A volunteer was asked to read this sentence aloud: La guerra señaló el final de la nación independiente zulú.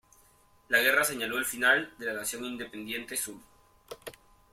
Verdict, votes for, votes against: rejected, 0, 2